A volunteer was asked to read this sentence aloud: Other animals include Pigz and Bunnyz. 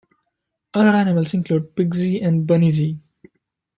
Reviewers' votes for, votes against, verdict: 0, 2, rejected